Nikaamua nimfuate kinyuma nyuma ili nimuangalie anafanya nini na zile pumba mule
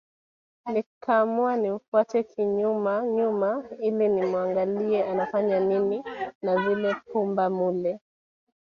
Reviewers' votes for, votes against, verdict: 2, 0, accepted